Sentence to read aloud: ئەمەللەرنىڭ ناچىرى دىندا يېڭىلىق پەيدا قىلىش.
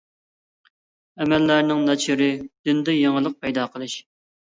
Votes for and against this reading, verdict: 2, 0, accepted